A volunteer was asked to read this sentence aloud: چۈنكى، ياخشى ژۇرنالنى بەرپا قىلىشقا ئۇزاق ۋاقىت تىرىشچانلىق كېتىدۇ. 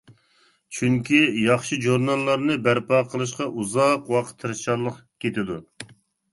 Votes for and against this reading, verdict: 0, 2, rejected